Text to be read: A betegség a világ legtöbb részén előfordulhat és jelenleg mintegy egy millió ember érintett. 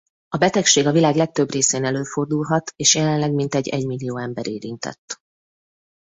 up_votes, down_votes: 2, 0